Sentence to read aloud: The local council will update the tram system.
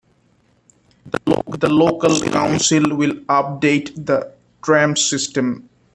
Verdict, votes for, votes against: rejected, 0, 2